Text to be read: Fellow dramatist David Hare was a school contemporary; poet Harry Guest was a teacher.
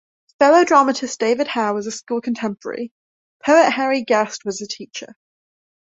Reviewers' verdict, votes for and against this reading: accepted, 2, 0